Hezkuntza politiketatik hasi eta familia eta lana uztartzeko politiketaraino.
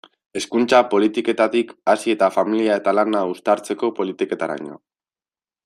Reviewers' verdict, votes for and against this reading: accepted, 2, 1